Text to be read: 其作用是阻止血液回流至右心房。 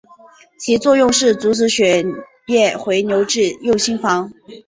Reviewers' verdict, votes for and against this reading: accepted, 3, 0